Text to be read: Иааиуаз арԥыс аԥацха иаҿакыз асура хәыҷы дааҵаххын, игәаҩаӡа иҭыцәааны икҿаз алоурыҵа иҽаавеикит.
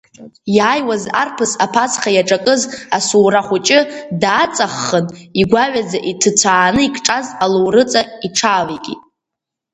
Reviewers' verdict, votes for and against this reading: accepted, 2, 0